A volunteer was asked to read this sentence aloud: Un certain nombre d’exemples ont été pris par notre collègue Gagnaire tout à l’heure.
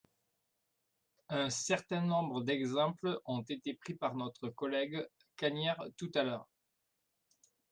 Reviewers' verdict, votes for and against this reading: accepted, 2, 0